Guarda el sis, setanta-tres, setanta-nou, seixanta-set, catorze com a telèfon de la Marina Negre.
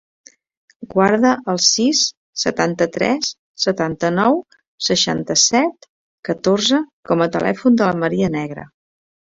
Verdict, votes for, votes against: accepted, 2, 1